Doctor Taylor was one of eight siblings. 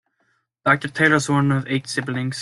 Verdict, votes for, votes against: accepted, 2, 0